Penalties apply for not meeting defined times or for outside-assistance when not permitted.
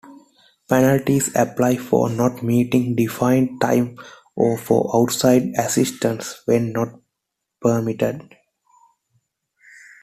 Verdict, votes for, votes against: rejected, 0, 2